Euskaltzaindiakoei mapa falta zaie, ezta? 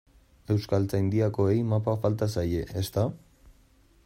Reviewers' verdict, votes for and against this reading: accepted, 2, 0